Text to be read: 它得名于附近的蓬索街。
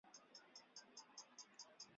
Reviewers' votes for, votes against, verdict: 0, 2, rejected